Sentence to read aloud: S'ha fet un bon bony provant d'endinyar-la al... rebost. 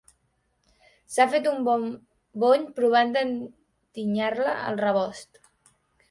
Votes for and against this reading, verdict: 0, 2, rejected